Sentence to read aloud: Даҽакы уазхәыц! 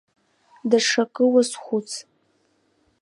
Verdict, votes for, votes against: accepted, 2, 0